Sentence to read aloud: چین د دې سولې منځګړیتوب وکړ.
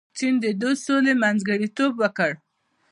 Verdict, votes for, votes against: accepted, 2, 0